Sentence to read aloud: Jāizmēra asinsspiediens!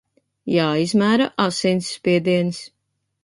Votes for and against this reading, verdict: 2, 0, accepted